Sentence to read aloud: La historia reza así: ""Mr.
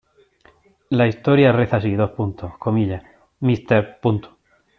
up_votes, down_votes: 1, 2